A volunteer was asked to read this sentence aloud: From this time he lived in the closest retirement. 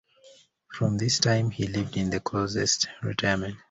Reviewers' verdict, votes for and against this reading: accepted, 2, 0